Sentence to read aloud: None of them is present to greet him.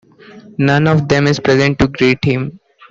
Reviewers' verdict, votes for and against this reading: rejected, 1, 2